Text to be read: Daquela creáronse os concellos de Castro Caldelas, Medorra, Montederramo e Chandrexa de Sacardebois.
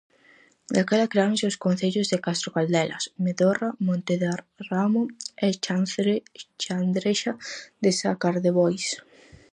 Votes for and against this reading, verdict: 0, 4, rejected